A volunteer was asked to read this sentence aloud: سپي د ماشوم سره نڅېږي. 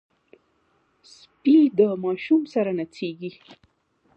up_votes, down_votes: 2, 0